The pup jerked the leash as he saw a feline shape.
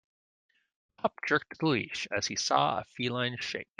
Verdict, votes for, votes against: accepted, 2, 1